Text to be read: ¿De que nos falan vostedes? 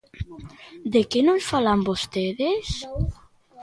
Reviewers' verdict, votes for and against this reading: rejected, 0, 2